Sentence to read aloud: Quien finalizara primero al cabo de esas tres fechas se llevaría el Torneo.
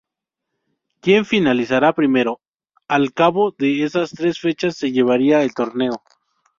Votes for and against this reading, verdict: 0, 2, rejected